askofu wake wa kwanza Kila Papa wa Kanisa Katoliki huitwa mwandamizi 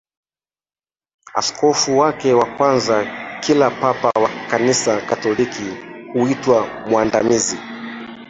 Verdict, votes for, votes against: accepted, 3, 2